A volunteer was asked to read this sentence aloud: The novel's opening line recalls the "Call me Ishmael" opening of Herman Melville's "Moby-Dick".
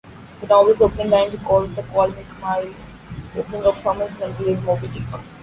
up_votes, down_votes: 0, 2